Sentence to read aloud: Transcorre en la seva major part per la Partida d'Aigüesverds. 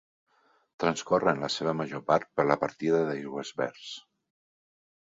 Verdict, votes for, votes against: accepted, 3, 0